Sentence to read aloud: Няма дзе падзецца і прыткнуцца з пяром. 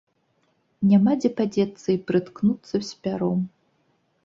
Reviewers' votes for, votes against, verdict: 2, 0, accepted